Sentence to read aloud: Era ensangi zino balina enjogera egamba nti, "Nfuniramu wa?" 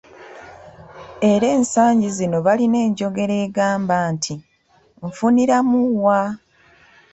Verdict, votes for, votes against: accepted, 2, 0